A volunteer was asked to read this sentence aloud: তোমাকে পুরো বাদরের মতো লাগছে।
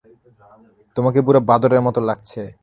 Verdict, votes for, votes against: accepted, 3, 0